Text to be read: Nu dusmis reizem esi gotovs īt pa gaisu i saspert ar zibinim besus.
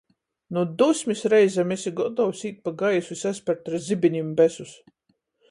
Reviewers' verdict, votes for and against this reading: accepted, 14, 0